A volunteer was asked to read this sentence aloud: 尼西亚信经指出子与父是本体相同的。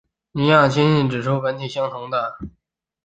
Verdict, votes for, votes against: rejected, 2, 3